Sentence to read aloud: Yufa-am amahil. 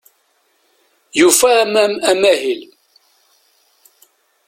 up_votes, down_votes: 0, 2